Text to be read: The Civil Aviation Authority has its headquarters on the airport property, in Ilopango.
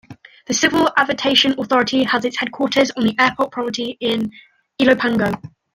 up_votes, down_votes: 1, 2